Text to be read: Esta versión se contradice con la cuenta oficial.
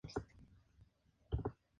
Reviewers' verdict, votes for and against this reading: rejected, 0, 2